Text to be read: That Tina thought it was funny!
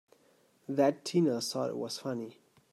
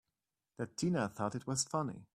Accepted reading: second